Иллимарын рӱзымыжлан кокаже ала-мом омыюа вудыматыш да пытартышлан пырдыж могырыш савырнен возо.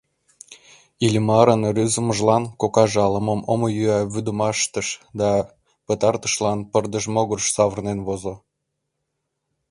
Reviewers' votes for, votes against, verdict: 0, 2, rejected